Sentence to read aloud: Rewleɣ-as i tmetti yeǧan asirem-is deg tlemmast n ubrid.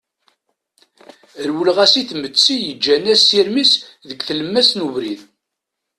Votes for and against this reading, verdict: 2, 0, accepted